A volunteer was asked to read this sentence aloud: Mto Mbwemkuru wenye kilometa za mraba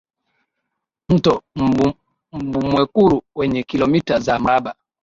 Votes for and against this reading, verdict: 2, 6, rejected